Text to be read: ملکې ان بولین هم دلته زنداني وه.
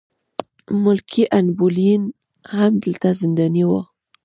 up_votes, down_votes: 2, 0